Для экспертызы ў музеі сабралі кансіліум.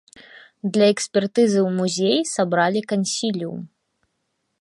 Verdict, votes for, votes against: accepted, 3, 0